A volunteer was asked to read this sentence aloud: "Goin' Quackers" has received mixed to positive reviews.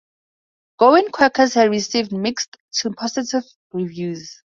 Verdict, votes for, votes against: accepted, 2, 0